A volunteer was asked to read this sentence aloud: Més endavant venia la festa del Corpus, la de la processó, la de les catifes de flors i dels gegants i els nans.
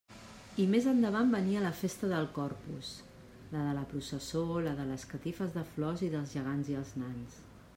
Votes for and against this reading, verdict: 1, 2, rejected